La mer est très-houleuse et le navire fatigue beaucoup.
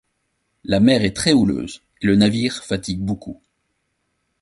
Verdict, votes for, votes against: accepted, 2, 0